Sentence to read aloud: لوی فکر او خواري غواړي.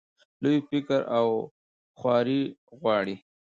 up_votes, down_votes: 2, 0